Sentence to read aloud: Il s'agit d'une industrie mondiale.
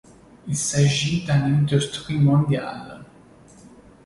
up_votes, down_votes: 2, 0